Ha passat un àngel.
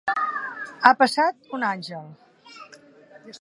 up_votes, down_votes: 2, 1